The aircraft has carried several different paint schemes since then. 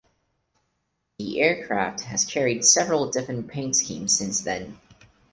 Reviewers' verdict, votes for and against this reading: accepted, 4, 0